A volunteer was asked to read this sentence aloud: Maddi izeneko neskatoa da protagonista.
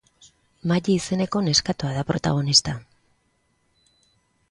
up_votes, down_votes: 2, 0